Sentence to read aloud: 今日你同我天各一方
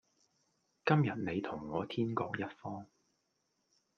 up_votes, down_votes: 2, 0